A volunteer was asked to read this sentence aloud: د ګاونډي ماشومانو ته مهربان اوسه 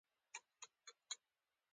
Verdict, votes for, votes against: accepted, 2, 1